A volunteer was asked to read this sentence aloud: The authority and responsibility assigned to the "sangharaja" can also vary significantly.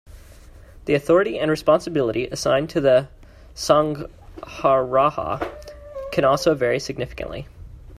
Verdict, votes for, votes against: rejected, 1, 2